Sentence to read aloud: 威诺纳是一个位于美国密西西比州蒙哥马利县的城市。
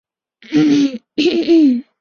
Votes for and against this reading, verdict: 3, 5, rejected